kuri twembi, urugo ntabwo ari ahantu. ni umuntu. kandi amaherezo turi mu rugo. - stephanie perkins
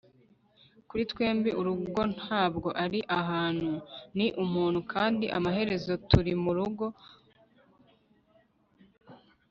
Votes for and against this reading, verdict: 0, 2, rejected